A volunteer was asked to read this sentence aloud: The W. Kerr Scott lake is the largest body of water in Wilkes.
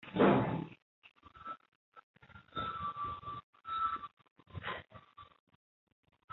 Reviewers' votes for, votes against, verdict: 0, 3, rejected